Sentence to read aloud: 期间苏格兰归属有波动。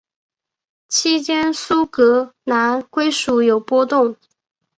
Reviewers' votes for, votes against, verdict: 3, 1, accepted